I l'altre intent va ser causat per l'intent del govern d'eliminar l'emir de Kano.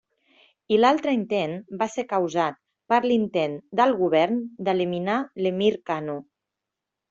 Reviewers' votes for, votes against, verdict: 0, 2, rejected